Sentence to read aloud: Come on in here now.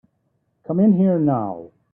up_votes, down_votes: 0, 3